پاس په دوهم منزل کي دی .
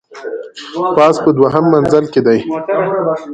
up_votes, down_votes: 1, 2